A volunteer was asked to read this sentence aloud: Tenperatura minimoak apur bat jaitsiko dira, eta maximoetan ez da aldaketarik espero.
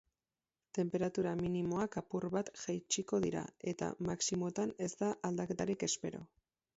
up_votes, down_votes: 4, 0